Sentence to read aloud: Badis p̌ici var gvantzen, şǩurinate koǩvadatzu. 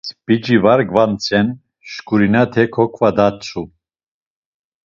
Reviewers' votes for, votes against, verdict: 0, 2, rejected